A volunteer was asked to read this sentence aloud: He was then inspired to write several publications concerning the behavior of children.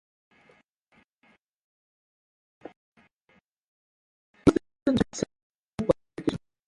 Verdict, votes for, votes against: rejected, 0, 2